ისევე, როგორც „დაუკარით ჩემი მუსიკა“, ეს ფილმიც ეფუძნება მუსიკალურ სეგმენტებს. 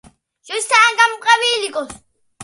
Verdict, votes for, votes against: rejected, 0, 2